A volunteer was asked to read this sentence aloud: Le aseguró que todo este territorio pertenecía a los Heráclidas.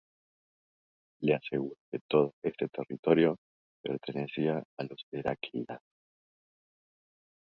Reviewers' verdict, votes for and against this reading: rejected, 0, 2